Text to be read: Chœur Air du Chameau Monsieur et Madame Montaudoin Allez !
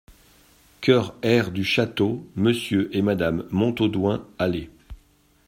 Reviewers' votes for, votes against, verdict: 1, 2, rejected